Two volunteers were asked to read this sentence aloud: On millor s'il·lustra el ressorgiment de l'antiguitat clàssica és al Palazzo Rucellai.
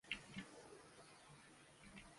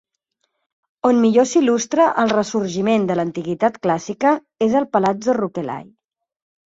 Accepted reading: second